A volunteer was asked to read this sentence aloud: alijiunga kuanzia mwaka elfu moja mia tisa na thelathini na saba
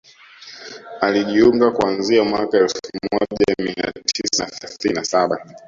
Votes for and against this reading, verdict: 0, 2, rejected